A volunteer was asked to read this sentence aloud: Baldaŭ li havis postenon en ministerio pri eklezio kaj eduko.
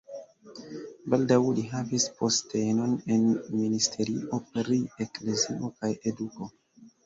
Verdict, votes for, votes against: rejected, 0, 2